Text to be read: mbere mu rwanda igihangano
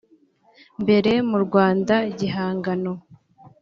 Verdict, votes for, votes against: accepted, 3, 0